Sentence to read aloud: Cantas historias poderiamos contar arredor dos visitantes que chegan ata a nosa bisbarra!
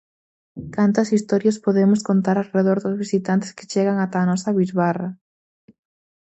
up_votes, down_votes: 0, 4